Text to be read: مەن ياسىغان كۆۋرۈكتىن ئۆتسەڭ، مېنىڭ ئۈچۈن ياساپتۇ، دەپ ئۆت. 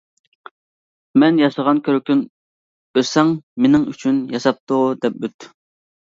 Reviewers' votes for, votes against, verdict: 1, 2, rejected